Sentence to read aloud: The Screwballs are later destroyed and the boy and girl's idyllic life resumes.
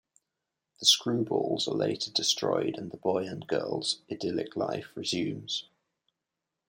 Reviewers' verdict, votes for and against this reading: accepted, 2, 1